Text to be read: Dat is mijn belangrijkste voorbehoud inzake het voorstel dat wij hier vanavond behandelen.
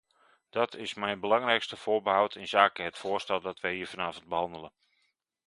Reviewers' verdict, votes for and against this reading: accepted, 2, 1